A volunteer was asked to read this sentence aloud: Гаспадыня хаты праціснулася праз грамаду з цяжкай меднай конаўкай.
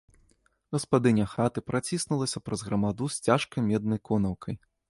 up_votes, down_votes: 2, 0